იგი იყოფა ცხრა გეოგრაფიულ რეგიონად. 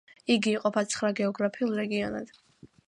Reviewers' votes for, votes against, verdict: 2, 0, accepted